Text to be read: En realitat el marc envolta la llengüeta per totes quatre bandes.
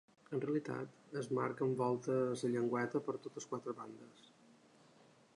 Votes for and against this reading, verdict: 0, 2, rejected